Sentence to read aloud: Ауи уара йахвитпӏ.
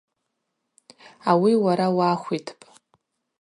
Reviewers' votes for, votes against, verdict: 2, 0, accepted